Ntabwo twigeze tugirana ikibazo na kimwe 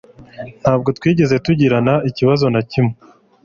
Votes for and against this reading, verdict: 3, 0, accepted